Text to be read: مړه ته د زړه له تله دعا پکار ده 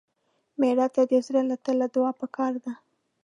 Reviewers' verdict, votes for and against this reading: accepted, 2, 0